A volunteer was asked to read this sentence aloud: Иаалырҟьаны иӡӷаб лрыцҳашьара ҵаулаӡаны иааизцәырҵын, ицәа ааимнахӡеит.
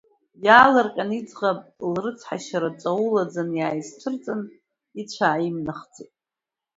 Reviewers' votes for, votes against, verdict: 0, 2, rejected